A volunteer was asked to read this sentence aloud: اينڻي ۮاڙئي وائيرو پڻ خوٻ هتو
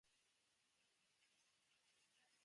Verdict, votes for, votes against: rejected, 0, 2